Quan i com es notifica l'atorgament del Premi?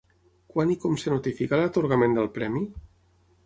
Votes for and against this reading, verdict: 3, 6, rejected